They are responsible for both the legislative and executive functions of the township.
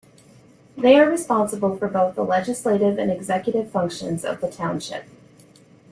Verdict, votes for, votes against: accepted, 2, 0